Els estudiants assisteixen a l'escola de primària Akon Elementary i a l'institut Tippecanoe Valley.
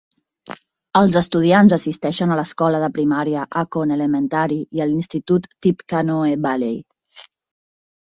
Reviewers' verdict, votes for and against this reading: accepted, 3, 0